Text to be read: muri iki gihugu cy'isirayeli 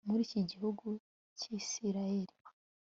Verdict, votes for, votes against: accepted, 2, 0